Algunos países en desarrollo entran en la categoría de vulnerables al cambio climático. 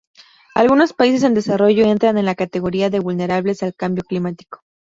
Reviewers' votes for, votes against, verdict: 0, 2, rejected